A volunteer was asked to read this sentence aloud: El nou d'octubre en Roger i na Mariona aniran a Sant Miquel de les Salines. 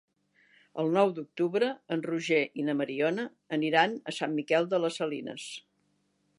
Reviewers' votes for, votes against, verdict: 3, 0, accepted